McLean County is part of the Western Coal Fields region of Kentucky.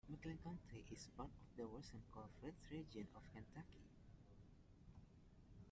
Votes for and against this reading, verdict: 0, 2, rejected